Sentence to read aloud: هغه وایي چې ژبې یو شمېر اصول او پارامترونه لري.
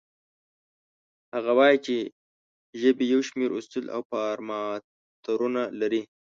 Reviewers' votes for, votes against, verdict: 1, 2, rejected